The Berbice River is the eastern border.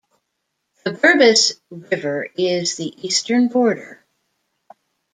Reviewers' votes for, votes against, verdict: 2, 0, accepted